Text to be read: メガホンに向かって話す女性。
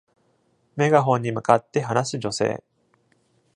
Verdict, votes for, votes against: accepted, 2, 0